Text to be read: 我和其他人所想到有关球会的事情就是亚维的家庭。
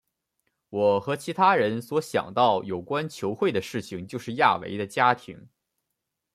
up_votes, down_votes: 2, 0